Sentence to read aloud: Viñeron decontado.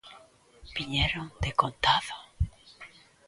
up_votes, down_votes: 2, 0